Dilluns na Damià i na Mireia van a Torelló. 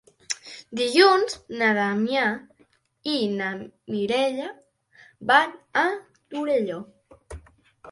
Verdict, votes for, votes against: accepted, 3, 0